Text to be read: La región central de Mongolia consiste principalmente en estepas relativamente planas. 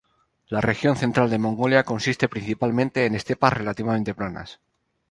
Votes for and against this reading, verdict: 2, 0, accepted